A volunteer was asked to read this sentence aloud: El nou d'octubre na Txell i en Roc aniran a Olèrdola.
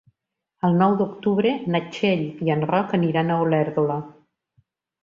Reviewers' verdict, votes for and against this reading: accepted, 2, 0